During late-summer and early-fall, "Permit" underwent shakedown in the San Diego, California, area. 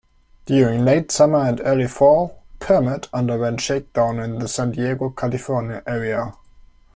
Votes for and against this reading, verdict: 2, 0, accepted